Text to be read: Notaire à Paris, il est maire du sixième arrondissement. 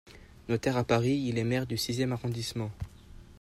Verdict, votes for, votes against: accepted, 2, 0